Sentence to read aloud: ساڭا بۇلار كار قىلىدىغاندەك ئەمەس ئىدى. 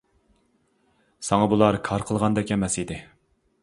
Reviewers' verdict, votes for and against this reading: rejected, 0, 2